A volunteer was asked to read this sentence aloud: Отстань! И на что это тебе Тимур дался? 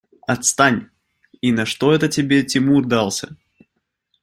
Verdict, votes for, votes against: accepted, 2, 0